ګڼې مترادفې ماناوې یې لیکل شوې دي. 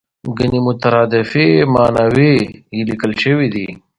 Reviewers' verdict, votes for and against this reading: accepted, 2, 0